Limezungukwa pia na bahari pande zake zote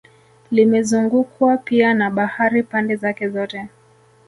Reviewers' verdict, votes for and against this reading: rejected, 1, 2